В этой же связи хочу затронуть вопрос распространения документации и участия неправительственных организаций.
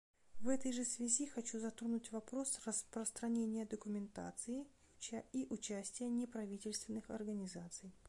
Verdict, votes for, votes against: rejected, 0, 2